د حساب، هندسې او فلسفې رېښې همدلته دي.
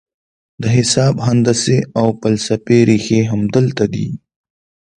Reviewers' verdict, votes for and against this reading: accepted, 2, 0